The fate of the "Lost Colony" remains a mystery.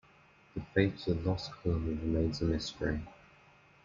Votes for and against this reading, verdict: 1, 2, rejected